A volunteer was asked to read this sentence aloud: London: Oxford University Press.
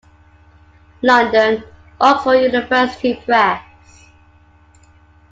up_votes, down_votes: 2, 0